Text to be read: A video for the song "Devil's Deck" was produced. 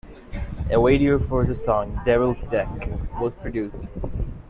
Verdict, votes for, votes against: accepted, 2, 1